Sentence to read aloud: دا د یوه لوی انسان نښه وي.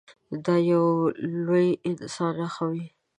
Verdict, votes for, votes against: rejected, 1, 2